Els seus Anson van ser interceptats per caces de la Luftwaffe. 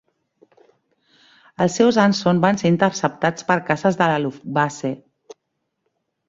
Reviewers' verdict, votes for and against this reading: rejected, 1, 2